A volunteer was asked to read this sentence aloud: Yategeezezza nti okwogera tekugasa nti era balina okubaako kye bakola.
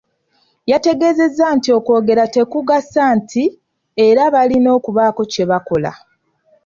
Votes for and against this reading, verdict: 2, 0, accepted